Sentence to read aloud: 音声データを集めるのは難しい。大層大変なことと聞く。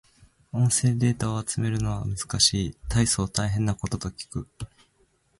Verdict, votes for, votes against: accepted, 2, 0